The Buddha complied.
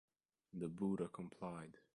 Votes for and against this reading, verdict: 2, 1, accepted